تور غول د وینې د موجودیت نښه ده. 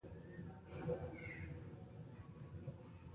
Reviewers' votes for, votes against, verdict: 2, 1, accepted